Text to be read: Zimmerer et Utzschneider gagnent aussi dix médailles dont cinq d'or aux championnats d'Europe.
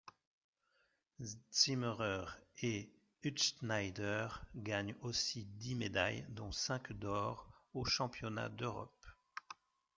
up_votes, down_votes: 2, 1